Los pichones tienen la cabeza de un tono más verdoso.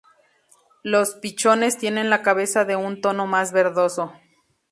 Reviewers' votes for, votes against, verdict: 2, 0, accepted